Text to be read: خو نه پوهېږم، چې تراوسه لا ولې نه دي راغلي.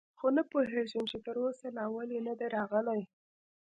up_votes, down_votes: 2, 0